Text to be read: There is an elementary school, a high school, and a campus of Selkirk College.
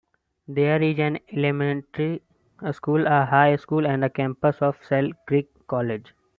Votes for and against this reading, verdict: 0, 2, rejected